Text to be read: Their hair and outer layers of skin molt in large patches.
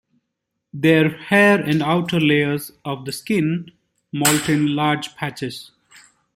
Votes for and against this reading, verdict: 1, 2, rejected